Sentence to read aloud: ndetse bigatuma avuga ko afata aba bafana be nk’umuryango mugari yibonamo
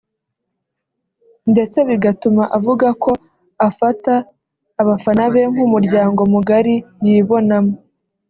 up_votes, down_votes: 2, 0